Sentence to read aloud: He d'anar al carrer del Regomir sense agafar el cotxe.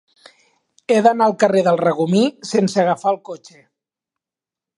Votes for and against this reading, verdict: 2, 0, accepted